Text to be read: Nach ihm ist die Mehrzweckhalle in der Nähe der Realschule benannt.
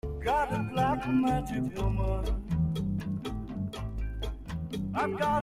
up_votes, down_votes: 0, 2